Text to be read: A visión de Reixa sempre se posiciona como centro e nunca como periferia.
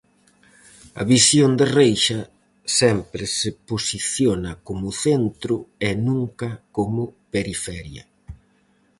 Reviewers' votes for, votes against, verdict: 4, 0, accepted